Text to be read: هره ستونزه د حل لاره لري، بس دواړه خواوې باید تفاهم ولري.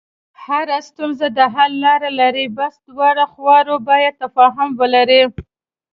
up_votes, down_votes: 2, 0